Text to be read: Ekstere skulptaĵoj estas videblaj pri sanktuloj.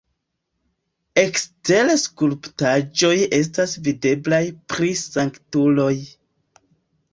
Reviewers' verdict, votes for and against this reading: accepted, 2, 1